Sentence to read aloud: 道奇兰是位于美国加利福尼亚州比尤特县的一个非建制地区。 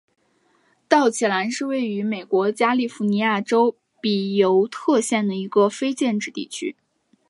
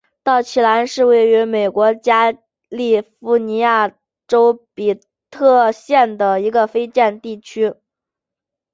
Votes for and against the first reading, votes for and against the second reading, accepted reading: 2, 0, 0, 2, first